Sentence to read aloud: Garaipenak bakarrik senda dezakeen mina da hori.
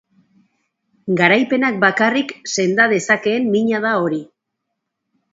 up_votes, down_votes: 2, 0